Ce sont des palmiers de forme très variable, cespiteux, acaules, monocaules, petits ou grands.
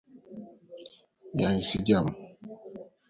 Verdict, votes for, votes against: rejected, 0, 2